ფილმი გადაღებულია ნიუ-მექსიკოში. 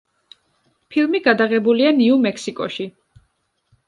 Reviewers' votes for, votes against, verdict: 2, 0, accepted